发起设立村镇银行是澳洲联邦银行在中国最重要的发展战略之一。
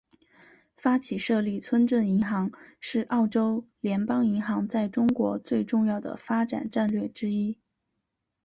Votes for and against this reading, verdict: 5, 1, accepted